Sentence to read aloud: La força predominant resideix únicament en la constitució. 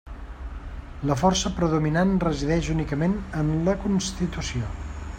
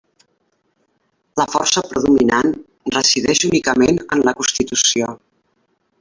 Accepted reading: first